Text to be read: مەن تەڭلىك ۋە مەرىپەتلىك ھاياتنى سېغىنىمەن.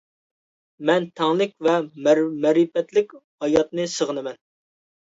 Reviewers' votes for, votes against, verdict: 1, 2, rejected